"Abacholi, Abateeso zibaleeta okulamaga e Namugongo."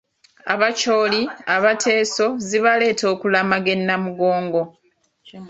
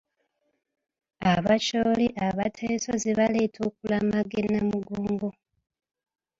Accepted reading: first